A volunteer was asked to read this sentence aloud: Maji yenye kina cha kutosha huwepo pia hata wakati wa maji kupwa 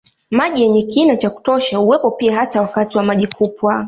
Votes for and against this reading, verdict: 2, 0, accepted